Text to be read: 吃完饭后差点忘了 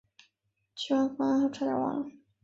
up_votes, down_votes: 2, 3